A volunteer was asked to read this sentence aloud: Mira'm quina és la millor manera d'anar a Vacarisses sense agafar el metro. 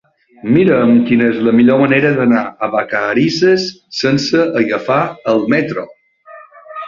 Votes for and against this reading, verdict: 2, 0, accepted